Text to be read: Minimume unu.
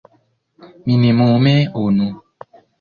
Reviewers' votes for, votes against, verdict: 2, 1, accepted